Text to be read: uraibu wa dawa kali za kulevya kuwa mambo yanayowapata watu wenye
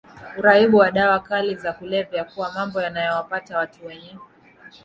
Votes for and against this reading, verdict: 2, 0, accepted